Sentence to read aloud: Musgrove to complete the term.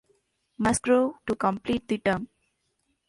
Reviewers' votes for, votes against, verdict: 1, 2, rejected